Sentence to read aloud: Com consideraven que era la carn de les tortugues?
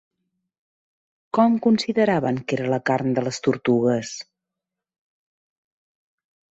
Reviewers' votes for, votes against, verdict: 2, 0, accepted